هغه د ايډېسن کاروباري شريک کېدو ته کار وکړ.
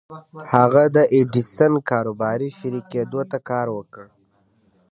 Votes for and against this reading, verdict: 2, 0, accepted